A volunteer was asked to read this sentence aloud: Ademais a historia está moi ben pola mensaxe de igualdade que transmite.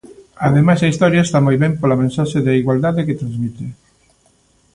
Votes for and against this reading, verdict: 2, 0, accepted